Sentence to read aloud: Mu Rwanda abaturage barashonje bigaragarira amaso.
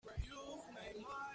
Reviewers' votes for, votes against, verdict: 0, 2, rejected